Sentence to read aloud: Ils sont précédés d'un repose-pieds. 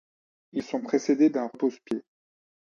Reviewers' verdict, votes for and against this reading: accepted, 2, 0